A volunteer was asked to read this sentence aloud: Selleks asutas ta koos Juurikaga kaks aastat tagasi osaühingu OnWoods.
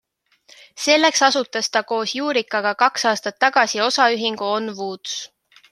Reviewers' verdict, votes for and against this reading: accepted, 2, 0